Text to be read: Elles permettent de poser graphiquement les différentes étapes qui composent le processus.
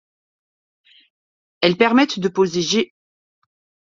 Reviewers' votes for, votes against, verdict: 0, 2, rejected